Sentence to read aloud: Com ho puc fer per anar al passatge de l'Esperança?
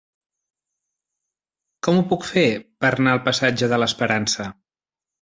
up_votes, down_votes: 0, 2